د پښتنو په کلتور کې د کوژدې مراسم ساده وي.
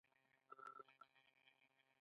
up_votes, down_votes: 0, 2